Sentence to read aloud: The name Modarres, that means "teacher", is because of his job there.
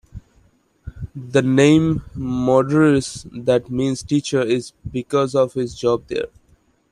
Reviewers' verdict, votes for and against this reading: accepted, 2, 1